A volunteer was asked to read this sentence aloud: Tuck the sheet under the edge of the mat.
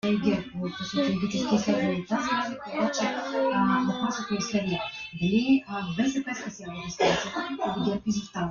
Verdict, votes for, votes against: rejected, 0, 2